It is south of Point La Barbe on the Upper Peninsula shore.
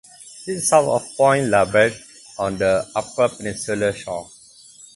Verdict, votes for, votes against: accepted, 4, 0